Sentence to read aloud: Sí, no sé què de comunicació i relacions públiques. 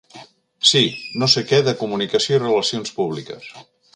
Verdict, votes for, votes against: accepted, 3, 0